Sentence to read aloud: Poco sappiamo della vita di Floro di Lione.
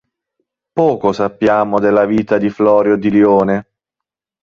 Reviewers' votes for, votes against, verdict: 1, 2, rejected